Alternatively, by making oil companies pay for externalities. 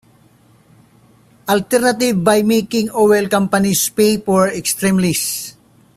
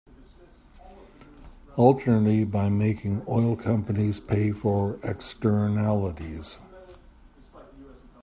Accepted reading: second